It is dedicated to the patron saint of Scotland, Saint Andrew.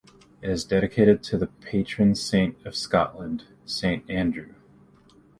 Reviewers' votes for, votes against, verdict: 2, 0, accepted